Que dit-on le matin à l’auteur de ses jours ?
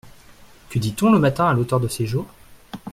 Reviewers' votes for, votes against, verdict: 2, 0, accepted